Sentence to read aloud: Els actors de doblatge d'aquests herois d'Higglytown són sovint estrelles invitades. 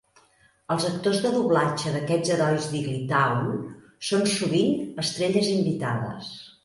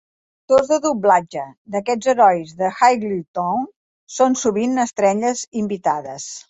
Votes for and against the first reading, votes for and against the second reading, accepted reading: 2, 0, 1, 2, first